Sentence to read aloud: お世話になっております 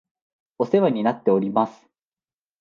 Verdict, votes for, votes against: accepted, 2, 0